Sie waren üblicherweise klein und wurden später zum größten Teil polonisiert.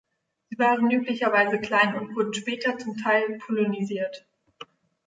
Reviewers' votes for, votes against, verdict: 1, 2, rejected